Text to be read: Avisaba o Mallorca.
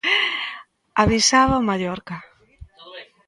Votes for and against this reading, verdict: 1, 2, rejected